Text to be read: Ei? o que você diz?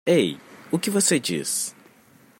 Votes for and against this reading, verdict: 2, 0, accepted